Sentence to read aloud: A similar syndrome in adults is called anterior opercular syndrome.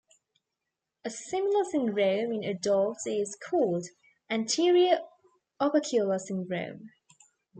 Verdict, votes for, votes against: accepted, 2, 1